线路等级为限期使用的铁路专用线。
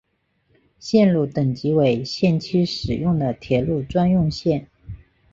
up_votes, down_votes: 3, 0